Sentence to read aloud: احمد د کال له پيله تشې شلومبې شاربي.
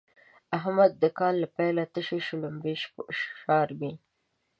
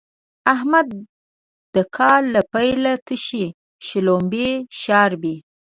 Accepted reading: second